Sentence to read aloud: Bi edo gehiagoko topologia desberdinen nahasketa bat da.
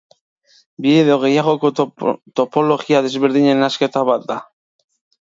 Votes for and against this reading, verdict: 1, 2, rejected